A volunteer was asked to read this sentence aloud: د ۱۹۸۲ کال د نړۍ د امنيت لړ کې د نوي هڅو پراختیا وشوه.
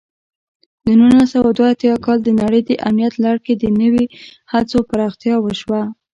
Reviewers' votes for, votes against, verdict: 0, 2, rejected